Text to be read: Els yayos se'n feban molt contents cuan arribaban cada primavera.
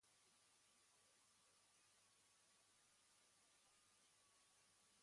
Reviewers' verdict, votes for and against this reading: rejected, 1, 2